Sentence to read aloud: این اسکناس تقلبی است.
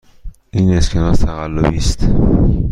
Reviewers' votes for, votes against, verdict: 2, 0, accepted